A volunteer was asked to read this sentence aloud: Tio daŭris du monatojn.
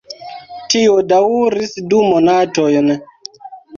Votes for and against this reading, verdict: 0, 2, rejected